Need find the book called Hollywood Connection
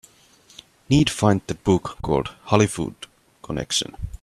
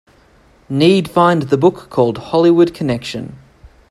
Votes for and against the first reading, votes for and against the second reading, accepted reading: 1, 2, 3, 0, second